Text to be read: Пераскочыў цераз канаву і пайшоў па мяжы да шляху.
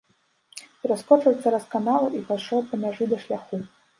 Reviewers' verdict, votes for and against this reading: rejected, 1, 2